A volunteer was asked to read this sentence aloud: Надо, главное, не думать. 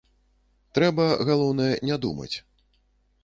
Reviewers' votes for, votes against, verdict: 0, 2, rejected